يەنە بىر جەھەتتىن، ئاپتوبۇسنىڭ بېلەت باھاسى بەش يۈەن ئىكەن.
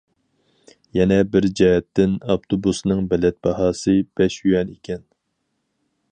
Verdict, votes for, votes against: accepted, 4, 0